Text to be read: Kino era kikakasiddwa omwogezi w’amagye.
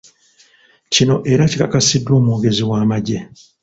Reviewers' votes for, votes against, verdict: 0, 2, rejected